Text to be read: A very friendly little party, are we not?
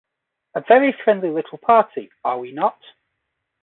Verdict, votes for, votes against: accepted, 2, 0